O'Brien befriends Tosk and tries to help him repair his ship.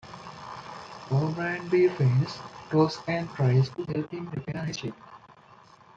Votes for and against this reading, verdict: 1, 2, rejected